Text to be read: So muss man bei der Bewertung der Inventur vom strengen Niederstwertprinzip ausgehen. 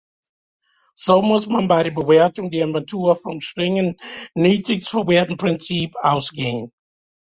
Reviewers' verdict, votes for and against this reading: rejected, 0, 2